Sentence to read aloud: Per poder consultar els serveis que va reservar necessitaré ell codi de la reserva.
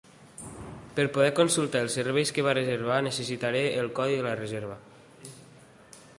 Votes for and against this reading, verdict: 0, 2, rejected